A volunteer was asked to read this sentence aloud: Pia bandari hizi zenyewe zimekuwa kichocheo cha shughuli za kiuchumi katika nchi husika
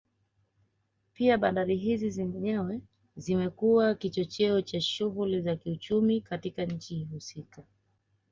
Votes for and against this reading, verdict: 2, 0, accepted